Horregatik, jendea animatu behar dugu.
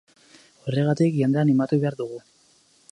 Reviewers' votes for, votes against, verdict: 2, 2, rejected